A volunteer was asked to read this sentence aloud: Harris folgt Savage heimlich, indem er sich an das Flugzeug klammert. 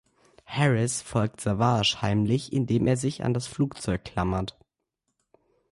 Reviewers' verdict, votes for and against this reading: accepted, 2, 0